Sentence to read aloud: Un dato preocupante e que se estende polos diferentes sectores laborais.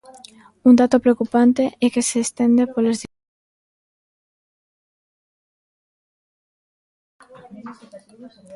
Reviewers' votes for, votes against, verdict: 0, 3, rejected